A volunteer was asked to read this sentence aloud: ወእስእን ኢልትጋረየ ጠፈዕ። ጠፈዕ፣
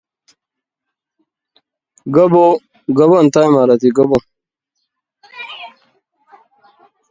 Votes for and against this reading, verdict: 0, 2, rejected